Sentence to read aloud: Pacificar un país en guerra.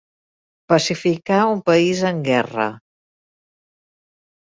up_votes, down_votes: 4, 0